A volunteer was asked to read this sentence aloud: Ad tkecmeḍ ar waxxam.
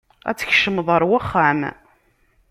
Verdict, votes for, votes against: rejected, 1, 2